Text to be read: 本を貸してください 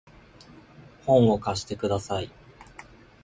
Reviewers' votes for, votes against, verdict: 2, 0, accepted